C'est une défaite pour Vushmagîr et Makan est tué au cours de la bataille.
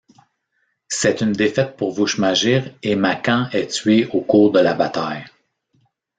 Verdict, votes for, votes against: accepted, 2, 0